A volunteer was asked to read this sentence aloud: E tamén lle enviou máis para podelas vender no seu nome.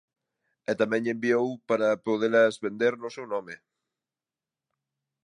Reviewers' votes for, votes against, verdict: 0, 2, rejected